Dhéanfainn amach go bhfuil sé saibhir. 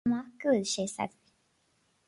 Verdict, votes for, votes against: rejected, 0, 4